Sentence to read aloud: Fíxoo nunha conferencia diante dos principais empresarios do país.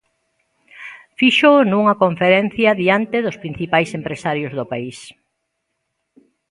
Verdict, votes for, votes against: accepted, 2, 0